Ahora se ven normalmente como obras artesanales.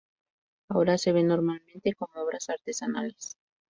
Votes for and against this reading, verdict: 0, 2, rejected